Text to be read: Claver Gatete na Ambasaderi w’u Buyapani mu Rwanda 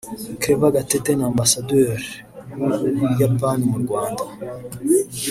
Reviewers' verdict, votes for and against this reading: rejected, 0, 2